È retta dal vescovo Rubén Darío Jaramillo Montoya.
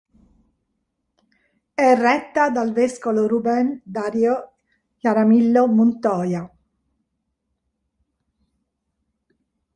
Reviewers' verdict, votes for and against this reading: rejected, 0, 2